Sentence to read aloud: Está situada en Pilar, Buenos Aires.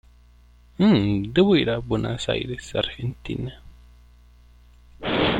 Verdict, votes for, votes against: rejected, 0, 2